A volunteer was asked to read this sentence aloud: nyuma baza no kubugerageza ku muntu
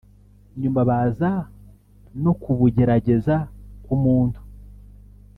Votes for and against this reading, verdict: 1, 2, rejected